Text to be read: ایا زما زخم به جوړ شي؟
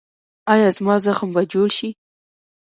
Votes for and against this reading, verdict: 2, 0, accepted